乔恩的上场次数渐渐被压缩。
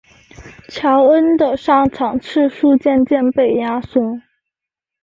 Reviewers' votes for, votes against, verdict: 5, 0, accepted